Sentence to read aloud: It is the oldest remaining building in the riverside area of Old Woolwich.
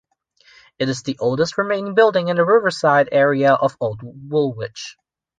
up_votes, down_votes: 1, 2